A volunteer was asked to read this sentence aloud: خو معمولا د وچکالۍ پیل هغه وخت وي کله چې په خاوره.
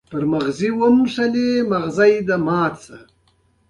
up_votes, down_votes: 1, 2